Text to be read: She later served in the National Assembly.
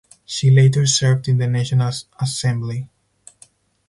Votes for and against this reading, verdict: 2, 2, rejected